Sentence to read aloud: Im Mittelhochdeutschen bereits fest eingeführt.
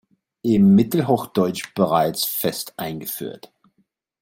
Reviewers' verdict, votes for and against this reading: rejected, 1, 2